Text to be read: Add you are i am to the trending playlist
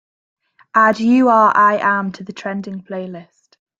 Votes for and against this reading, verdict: 2, 0, accepted